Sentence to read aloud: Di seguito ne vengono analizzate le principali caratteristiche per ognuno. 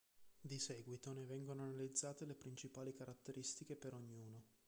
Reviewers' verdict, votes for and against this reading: accepted, 2, 0